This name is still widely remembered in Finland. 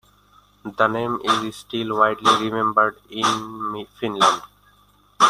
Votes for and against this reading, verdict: 1, 2, rejected